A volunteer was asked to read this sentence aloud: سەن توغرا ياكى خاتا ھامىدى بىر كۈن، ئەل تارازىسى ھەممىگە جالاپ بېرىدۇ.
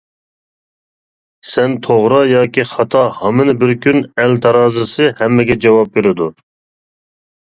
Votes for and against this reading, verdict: 1, 2, rejected